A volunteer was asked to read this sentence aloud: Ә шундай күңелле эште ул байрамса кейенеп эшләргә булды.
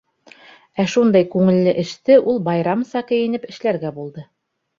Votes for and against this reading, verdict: 2, 0, accepted